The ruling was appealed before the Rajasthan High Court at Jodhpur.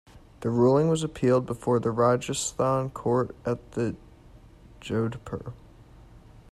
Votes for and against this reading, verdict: 0, 2, rejected